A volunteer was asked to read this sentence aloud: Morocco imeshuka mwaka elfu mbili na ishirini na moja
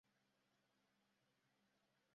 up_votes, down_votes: 0, 2